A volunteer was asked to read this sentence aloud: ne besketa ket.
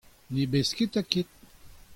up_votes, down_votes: 2, 0